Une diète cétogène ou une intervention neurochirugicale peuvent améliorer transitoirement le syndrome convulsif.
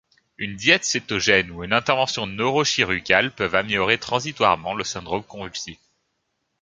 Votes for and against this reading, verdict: 1, 2, rejected